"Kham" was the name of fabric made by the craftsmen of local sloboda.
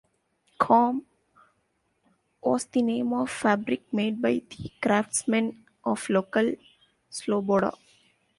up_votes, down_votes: 2, 0